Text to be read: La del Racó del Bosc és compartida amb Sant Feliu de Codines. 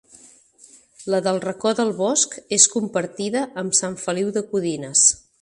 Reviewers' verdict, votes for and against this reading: accepted, 4, 0